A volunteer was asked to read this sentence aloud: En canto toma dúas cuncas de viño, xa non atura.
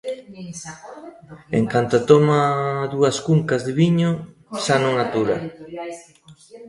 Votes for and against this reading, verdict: 2, 0, accepted